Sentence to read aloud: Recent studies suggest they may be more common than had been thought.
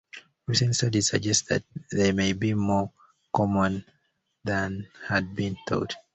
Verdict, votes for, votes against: rejected, 0, 2